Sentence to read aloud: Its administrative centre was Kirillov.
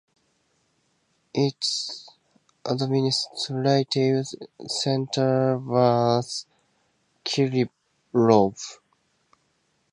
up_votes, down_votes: 2, 0